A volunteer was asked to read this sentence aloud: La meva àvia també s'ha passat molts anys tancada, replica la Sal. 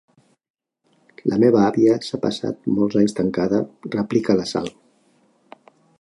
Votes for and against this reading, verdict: 1, 3, rejected